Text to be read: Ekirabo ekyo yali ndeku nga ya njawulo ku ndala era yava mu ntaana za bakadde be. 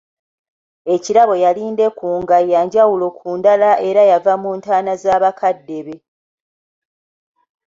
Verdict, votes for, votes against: rejected, 1, 2